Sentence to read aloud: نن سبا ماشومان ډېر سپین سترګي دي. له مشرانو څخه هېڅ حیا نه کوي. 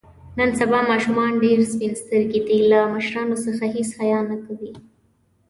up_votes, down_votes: 3, 0